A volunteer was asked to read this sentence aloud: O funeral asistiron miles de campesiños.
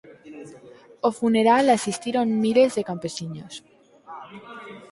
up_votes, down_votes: 4, 0